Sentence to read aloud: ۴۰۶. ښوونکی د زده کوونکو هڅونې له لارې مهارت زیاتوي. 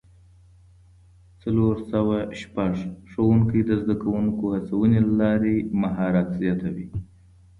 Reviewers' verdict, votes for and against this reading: rejected, 0, 2